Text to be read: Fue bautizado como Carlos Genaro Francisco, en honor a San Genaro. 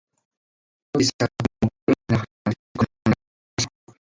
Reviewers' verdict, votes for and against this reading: rejected, 0, 2